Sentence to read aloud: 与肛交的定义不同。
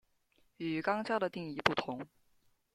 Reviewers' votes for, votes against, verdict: 0, 2, rejected